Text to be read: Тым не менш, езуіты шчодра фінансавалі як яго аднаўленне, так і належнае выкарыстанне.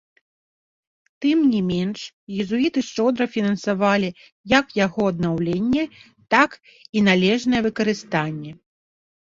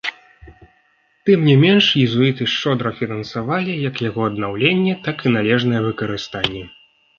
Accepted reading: second